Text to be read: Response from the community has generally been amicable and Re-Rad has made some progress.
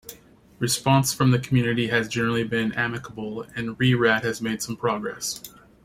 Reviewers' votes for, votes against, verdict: 2, 0, accepted